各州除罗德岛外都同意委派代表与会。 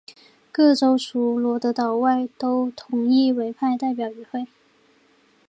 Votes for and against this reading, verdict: 2, 0, accepted